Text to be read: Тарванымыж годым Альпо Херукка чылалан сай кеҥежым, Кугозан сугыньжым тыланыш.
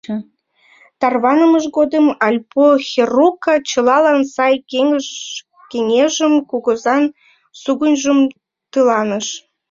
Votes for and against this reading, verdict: 2, 3, rejected